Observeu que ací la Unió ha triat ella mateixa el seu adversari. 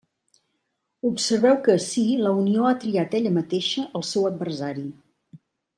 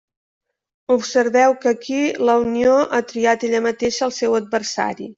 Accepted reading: first